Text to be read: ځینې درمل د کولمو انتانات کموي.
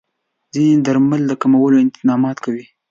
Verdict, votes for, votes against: rejected, 1, 2